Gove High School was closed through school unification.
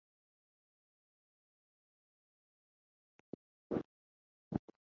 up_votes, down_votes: 0, 4